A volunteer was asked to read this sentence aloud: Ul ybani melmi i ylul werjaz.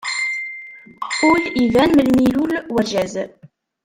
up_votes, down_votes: 1, 2